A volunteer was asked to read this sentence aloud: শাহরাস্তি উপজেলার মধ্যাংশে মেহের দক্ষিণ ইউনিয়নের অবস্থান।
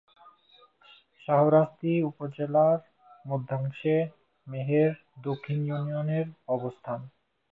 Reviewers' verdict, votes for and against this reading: rejected, 1, 3